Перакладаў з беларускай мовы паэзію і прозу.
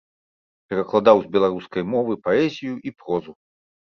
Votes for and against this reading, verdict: 2, 0, accepted